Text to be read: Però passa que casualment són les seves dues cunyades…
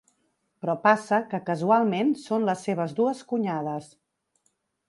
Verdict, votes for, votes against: accepted, 4, 0